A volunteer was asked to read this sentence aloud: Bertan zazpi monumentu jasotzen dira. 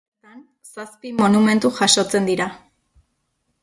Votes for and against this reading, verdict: 0, 2, rejected